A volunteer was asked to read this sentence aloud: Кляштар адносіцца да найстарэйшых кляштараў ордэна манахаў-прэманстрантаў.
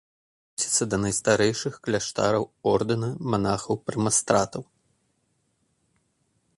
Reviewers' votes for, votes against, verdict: 0, 2, rejected